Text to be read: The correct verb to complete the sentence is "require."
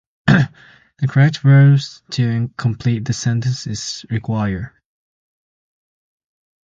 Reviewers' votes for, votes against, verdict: 0, 4, rejected